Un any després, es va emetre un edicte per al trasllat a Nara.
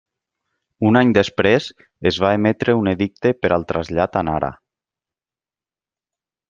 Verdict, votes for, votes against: accepted, 2, 0